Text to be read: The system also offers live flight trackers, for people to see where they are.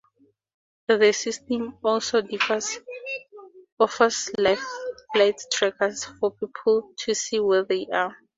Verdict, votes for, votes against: rejected, 2, 4